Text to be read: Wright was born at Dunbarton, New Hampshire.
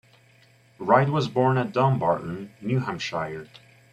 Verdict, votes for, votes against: accepted, 2, 1